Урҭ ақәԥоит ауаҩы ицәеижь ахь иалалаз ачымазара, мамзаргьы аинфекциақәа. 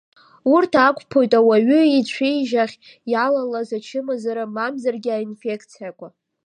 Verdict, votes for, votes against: accepted, 2, 0